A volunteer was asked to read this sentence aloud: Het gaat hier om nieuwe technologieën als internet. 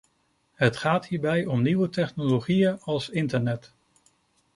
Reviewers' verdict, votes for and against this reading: rejected, 1, 2